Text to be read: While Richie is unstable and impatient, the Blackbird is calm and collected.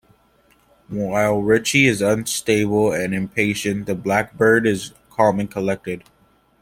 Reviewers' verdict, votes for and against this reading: accepted, 2, 0